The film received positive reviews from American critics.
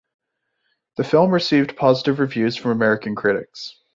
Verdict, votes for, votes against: accepted, 2, 0